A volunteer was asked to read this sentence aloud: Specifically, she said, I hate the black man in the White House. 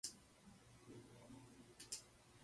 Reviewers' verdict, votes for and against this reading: rejected, 0, 2